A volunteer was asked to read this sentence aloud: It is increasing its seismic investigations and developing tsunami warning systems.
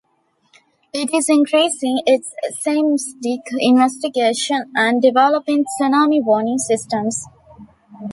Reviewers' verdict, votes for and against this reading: rejected, 0, 2